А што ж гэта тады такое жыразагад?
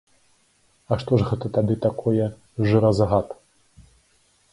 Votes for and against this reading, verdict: 2, 0, accepted